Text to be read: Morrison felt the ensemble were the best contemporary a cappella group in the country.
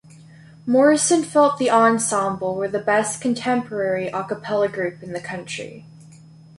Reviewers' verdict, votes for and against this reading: accepted, 2, 0